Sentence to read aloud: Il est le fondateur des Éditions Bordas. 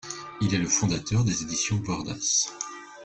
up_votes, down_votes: 2, 1